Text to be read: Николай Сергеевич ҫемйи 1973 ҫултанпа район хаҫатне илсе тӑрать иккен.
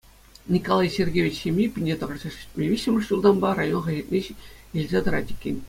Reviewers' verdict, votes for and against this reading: rejected, 0, 2